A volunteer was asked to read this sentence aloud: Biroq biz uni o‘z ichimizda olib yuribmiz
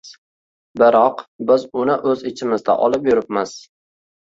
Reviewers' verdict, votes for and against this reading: accepted, 2, 1